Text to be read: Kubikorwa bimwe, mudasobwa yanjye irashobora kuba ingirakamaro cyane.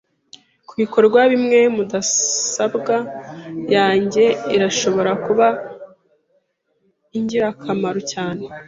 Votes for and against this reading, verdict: 0, 2, rejected